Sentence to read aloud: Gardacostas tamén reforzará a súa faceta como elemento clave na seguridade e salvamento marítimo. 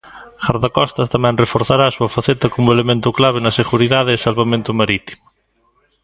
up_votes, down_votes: 3, 0